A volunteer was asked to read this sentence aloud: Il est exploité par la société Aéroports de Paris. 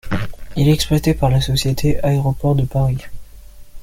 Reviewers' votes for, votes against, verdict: 2, 1, accepted